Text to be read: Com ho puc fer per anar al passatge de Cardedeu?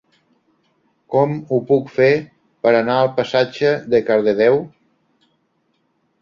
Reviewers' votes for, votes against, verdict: 4, 0, accepted